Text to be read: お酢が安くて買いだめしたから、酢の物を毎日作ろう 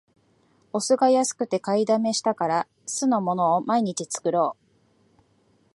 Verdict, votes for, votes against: accepted, 2, 1